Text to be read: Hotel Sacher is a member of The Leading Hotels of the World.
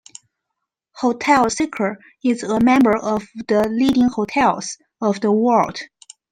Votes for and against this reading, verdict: 1, 2, rejected